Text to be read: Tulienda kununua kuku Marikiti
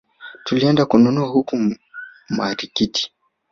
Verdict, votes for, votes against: rejected, 1, 2